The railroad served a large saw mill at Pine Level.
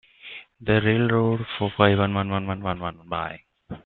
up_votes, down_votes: 0, 2